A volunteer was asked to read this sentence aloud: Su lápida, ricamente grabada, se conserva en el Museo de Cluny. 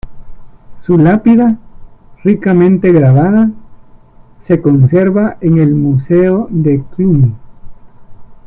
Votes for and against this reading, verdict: 2, 1, accepted